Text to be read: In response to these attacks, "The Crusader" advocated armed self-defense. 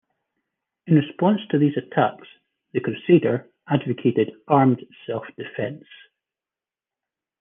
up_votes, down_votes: 1, 2